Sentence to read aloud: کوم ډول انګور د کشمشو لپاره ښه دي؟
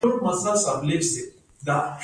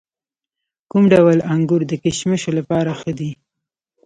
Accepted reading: second